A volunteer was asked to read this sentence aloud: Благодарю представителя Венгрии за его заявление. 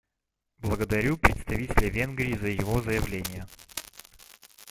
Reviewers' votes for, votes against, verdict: 1, 2, rejected